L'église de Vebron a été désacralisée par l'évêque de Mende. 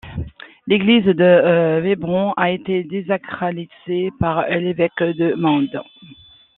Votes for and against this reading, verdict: 1, 2, rejected